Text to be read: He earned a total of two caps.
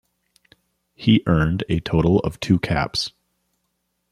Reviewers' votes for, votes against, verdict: 2, 0, accepted